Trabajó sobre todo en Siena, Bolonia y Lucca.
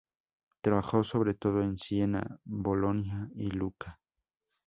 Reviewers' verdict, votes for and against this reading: accepted, 2, 0